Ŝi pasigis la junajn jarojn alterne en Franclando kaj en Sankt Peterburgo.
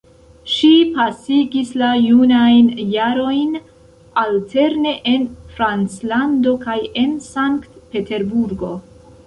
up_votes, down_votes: 2, 0